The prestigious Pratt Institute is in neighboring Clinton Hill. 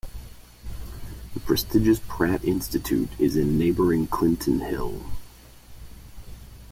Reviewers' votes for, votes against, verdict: 2, 0, accepted